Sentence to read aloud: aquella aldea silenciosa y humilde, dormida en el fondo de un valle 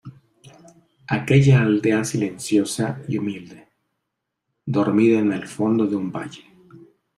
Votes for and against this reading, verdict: 2, 0, accepted